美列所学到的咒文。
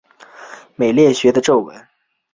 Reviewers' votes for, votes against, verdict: 2, 3, rejected